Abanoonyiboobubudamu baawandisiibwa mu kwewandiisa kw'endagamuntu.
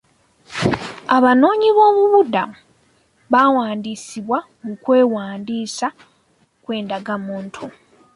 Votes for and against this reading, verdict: 2, 0, accepted